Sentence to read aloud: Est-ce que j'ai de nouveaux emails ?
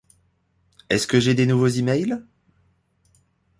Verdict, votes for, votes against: rejected, 1, 2